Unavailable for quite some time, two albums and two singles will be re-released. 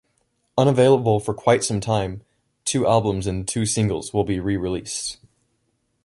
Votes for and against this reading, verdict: 2, 0, accepted